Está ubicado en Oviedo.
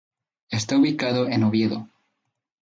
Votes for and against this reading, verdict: 2, 0, accepted